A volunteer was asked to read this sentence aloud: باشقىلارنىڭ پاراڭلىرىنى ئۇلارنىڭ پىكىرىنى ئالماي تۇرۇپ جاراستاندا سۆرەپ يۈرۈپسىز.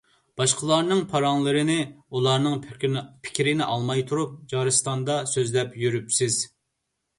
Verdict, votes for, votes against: rejected, 0, 2